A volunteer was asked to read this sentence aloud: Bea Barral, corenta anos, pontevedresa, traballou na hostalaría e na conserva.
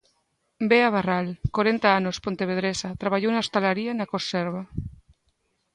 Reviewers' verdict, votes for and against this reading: accepted, 2, 0